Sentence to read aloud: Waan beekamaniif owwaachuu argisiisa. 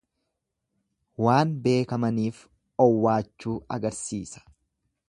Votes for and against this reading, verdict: 1, 2, rejected